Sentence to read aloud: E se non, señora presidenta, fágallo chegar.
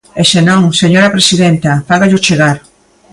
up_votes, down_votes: 2, 0